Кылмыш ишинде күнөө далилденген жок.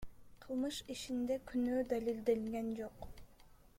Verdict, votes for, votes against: rejected, 0, 2